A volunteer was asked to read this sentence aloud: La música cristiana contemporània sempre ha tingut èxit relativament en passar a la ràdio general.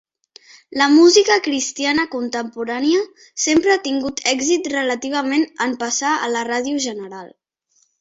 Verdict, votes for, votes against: accepted, 3, 0